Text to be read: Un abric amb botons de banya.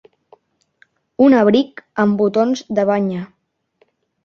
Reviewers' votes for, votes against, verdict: 3, 1, accepted